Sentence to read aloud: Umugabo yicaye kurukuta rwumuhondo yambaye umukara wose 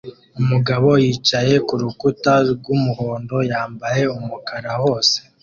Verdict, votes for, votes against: accepted, 2, 0